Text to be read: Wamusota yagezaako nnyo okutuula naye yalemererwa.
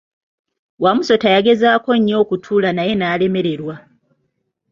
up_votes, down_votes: 1, 2